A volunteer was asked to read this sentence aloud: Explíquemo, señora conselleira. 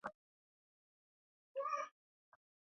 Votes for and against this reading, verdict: 0, 2, rejected